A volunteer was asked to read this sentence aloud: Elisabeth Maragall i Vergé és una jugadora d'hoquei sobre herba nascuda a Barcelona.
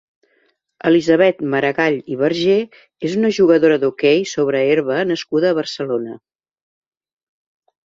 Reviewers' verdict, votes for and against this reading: accepted, 2, 0